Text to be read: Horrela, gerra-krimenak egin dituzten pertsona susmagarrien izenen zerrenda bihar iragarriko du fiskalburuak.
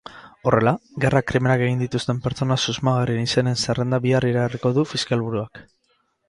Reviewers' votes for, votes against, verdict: 8, 0, accepted